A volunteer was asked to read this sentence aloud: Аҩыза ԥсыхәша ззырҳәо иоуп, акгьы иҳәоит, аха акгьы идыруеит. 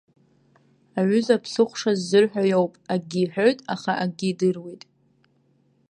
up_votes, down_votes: 2, 0